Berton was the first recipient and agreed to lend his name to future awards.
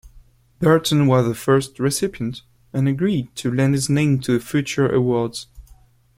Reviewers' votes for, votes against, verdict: 2, 0, accepted